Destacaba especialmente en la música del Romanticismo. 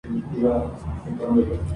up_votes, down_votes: 0, 2